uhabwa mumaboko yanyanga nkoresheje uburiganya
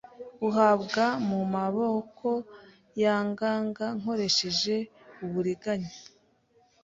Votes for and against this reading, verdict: 0, 2, rejected